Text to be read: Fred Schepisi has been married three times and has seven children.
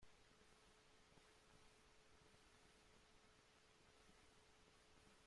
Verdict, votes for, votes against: rejected, 0, 2